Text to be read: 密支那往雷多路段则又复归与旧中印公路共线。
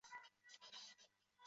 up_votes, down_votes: 0, 2